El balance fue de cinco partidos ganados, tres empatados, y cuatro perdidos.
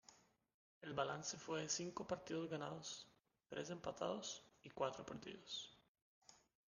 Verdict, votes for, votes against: rejected, 1, 2